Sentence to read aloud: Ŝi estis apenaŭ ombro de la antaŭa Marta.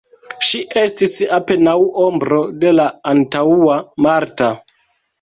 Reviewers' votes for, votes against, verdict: 0, 2, rejected